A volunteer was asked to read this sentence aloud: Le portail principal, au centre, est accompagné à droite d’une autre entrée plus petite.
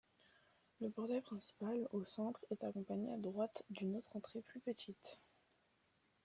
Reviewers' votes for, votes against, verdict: 1, 2, rejected